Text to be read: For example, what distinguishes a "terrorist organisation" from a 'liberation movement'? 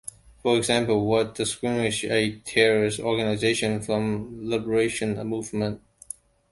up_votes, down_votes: 1, 2